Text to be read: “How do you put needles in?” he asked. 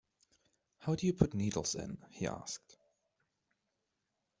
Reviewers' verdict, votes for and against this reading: accepted, 2, 0